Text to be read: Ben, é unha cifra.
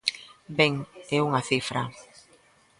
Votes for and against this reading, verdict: 2, 0, accepted